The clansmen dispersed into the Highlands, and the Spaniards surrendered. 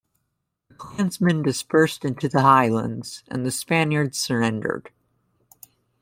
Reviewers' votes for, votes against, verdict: 0, 2, rejected